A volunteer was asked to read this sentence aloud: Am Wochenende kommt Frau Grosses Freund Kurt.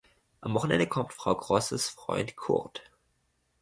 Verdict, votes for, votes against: accepted, 2, 0